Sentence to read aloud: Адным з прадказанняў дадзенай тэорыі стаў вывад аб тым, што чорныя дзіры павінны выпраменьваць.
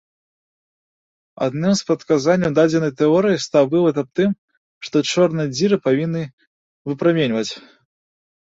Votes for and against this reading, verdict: 2, 1, accepted